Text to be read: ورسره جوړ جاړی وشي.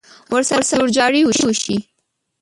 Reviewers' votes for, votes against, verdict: 1, 2, rejected